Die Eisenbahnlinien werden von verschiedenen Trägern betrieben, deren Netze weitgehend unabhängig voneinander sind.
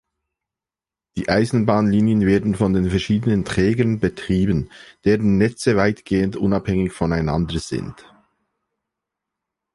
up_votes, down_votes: 0, 2